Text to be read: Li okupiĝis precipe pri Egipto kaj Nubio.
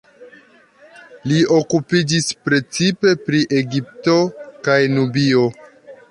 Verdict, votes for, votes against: accepted, 2, 0